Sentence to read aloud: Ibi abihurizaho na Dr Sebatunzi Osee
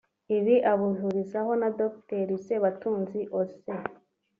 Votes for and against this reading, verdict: 5, 0, accepted